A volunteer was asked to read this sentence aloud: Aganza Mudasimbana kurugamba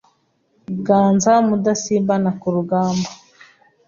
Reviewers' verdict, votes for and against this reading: rejected, 1, 2